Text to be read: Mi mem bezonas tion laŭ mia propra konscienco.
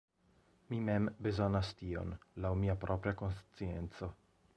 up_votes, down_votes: 0, 2